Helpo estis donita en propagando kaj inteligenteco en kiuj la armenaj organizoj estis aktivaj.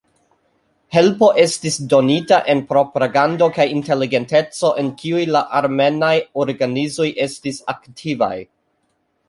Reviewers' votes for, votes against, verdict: 0, 2, rejected